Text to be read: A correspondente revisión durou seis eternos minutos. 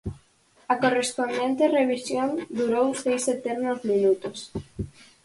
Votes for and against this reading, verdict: 4, 0, accepted